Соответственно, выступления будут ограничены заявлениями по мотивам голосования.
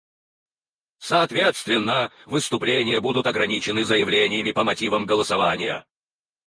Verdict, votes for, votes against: rejected, 0, 4